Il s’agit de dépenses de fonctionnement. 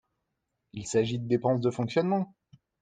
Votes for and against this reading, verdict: 2, 0, accepted